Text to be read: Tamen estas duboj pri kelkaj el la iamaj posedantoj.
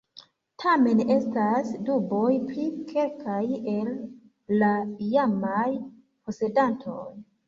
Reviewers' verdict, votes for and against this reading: accepted, 2, 1